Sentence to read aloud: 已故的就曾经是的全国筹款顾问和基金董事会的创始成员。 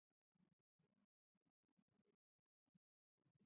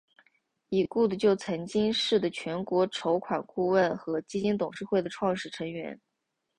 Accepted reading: second